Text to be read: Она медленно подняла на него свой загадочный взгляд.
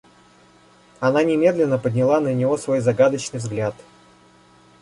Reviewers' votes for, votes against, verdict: 0, 2, rejected